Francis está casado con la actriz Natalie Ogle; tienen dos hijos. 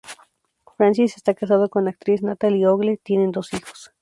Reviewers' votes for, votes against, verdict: 2, 2, rejected